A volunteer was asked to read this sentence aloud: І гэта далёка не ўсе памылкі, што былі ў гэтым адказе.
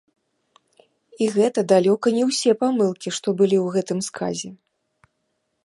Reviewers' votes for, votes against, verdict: 0, 2, rejected